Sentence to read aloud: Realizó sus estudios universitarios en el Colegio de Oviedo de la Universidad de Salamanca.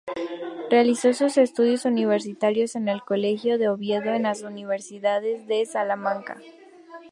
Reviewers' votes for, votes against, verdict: 0, 2, rejected